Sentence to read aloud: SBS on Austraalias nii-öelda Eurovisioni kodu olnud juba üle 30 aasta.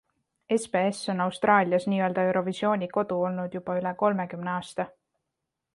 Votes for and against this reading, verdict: 0, 2, rejected